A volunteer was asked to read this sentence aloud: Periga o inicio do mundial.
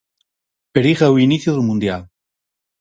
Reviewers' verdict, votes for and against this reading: accepted, 4, 0